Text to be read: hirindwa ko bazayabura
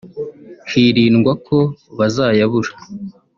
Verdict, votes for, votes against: accepted, 2, 1